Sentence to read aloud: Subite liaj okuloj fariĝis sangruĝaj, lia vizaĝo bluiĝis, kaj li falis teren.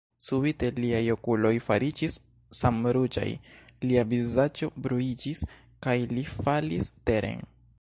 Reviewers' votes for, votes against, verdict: 0, 2, rejected